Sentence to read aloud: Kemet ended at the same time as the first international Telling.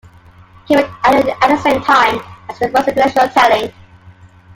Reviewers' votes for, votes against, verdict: 1, 2, rejected